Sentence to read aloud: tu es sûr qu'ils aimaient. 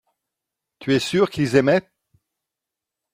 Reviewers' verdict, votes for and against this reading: accepted, 2, 0